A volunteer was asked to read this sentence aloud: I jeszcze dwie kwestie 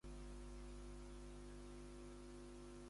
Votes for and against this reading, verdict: 0, 2, rejected